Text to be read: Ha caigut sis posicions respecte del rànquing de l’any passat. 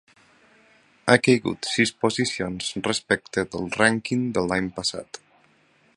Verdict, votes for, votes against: accepted, 3, 0